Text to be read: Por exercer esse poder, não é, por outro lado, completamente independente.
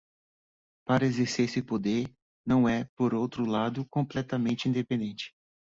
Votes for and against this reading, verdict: 0, 2, rejected